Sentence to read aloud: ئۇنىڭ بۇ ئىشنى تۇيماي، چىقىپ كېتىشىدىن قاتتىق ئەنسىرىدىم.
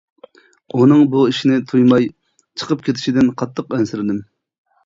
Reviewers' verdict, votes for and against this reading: accepted, 2, 1